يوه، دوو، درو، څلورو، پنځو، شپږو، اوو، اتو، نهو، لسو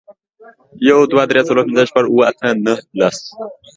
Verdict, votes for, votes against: rejected, 0, 2